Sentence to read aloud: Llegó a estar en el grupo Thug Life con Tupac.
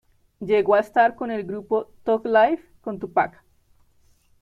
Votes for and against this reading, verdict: 0, 2, rejected